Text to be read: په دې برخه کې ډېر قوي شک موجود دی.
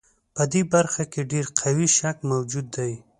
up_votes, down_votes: 2, 0